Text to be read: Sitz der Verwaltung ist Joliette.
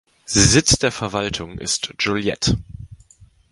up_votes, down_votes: 1, 2